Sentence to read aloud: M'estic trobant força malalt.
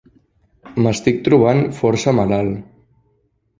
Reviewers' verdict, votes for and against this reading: accepted, 2, 0